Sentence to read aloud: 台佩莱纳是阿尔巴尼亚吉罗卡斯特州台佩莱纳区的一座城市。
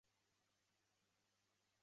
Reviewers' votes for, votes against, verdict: 0, 2, rejected